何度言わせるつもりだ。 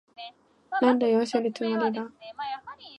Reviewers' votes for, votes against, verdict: 0, 2, rejected